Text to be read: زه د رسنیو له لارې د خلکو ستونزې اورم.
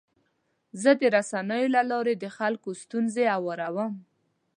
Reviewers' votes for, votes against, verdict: 2, 0, accepted